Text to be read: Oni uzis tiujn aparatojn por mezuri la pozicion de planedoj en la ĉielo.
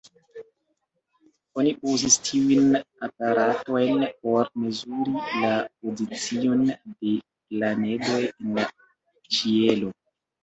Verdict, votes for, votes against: accepted, 2, 0